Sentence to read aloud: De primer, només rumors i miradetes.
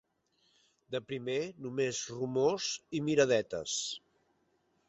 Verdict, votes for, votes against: accepted, 3, 0